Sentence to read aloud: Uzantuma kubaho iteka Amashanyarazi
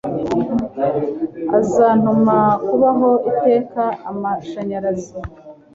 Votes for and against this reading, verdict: 1, 3, rejected